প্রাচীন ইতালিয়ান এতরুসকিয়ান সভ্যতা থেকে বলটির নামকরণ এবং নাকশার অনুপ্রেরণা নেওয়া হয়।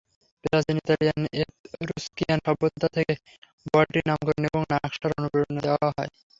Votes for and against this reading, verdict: 0, 3, rejected